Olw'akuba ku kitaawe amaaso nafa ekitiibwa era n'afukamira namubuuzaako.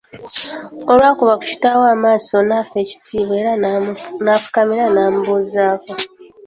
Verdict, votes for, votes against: rejected, 0, 2